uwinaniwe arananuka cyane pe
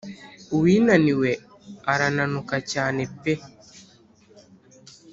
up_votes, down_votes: 3, 0